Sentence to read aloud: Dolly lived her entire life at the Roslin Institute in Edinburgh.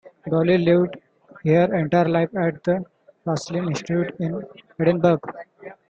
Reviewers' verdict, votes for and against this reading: rejected, 1, 3